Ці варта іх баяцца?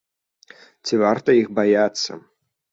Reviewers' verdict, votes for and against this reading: accepted, 2, 0